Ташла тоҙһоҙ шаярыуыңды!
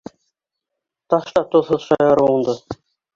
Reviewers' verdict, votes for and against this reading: accepted, 2, 0